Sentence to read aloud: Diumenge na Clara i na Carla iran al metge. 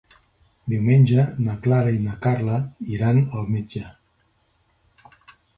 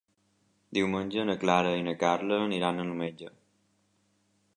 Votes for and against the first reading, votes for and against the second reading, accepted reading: 3, 0, 1, 3, first